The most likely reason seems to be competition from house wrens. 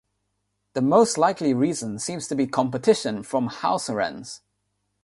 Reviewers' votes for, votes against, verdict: 0, 6, rejected